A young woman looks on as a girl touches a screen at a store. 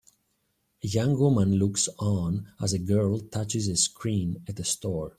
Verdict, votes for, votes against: rejected, 0, 2